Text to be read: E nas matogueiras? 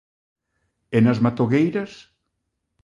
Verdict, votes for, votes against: accepted, 2, 0